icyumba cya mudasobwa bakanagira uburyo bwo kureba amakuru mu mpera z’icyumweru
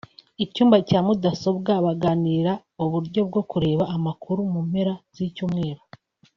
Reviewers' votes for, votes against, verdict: 1, 2, rejected